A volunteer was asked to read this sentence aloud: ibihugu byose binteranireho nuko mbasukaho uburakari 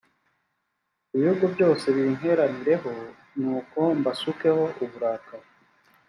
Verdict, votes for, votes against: accepted, 2, 0